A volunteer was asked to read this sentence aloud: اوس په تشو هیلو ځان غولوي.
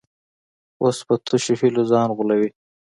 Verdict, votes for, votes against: accepted, 2, 0